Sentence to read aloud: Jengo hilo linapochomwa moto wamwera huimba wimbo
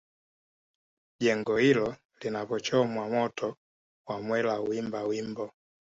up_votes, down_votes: 0, 2